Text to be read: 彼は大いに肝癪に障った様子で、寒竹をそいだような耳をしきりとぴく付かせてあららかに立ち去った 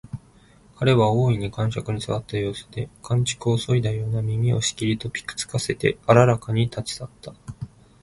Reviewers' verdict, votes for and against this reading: accepted, 2, 0